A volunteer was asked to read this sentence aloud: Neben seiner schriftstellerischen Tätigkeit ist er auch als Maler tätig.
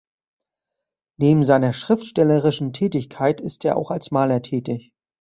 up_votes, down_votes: 2, 0